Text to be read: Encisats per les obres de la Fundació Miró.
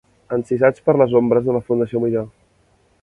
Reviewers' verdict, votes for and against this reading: rejected, 1, 2